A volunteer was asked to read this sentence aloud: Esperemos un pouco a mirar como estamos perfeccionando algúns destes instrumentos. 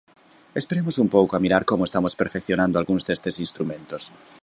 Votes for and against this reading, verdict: 2, 0, accepted